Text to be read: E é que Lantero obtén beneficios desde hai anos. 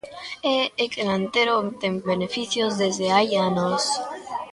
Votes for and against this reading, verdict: 1, 2, rejected